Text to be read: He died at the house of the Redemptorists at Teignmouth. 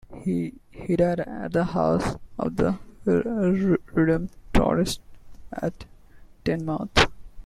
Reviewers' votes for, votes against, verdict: 1, 2, rejected